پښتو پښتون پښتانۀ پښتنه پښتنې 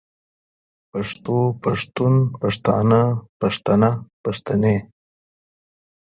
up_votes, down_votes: 1, 2